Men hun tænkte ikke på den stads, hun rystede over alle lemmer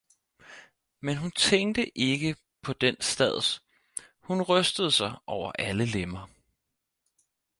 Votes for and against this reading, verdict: 0, 4, rejected